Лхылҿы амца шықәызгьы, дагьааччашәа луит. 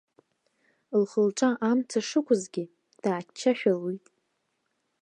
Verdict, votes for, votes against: rejected, 1, 2